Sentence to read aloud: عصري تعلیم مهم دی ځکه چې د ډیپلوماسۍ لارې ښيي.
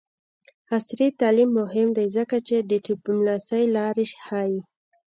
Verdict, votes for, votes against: accepted, 2, 1